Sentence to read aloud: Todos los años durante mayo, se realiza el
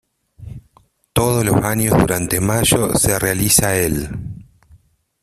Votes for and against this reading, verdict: 0, 2, rejected